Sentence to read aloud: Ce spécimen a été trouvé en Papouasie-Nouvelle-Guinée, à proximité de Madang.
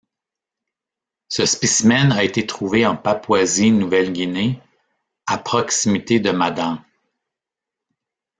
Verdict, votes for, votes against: rejected, 1, 2